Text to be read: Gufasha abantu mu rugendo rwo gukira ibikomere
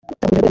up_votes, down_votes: 0, 3